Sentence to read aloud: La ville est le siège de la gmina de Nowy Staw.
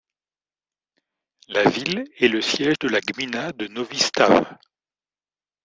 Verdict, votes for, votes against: rejected, 0, 2